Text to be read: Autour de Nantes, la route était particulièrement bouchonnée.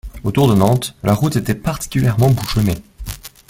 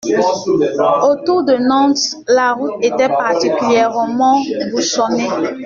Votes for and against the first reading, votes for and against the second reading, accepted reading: 2, 0, 1, 2, first